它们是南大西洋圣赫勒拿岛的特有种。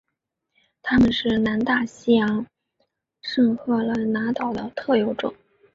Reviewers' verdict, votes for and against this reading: accepted, 3, 0